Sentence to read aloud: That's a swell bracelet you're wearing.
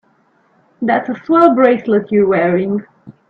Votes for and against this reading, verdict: 3, 0, accepted